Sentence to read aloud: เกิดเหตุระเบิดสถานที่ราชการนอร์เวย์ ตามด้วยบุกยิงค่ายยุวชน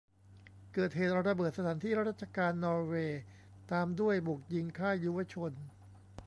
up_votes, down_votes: 2, 0